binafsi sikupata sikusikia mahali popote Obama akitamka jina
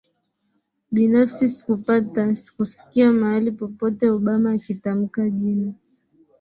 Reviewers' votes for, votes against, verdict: 0, 2, rejected